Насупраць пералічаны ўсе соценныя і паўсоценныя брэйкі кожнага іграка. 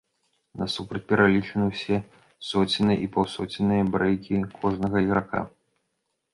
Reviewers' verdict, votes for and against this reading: accepted, 2, 0